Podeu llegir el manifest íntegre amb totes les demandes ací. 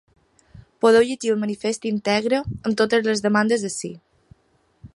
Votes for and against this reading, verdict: 0, 2, rejected